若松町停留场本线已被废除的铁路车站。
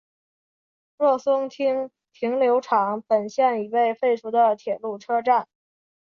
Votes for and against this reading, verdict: 2, 0, accepted